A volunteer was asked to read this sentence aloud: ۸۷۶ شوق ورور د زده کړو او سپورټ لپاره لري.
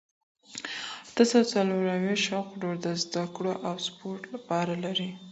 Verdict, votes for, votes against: rejected, 0, 2